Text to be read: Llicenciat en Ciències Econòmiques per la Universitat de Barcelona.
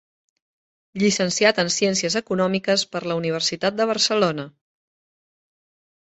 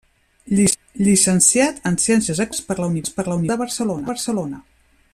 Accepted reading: first